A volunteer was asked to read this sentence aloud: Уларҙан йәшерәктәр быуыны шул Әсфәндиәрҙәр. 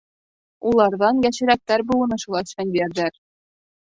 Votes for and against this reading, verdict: 1, 2, rejected